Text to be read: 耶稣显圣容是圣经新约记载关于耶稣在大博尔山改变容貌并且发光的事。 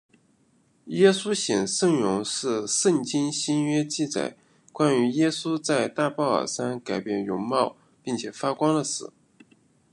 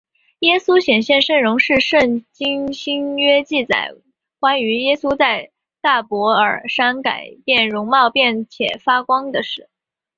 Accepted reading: first